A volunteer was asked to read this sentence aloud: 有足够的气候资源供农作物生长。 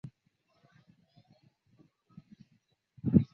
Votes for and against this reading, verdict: 1, 2, rejected